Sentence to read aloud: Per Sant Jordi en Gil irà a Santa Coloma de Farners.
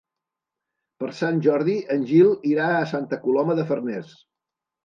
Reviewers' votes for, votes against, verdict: 3, 0, accepted